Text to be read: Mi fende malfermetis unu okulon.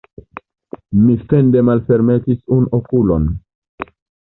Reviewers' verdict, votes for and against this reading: accepted, 2, 0